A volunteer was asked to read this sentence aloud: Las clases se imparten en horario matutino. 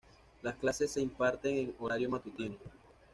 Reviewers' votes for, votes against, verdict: 2, 0, accepted